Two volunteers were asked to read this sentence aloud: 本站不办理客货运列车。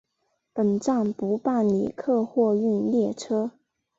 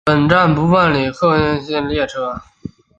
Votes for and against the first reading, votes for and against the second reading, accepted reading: 3, 1, 1, 3, first